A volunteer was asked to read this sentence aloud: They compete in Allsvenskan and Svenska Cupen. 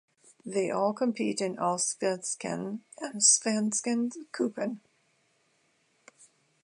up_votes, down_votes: 0, 2